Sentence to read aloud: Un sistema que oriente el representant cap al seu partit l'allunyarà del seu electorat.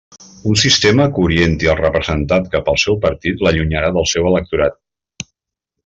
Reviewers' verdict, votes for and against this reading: rejected, 1, 2